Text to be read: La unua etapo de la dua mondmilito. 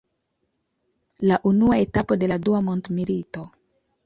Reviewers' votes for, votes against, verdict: 2, 0, accepted